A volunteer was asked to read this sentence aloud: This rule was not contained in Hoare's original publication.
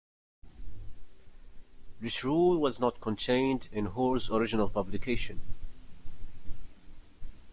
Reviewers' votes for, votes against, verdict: 2, 0, accepted